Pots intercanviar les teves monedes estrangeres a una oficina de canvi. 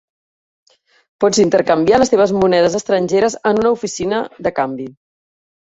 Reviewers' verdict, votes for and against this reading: rejected, 1, 2